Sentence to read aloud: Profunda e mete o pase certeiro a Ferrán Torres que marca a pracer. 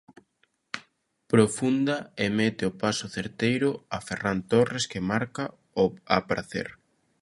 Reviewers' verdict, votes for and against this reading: rejected, 0, 2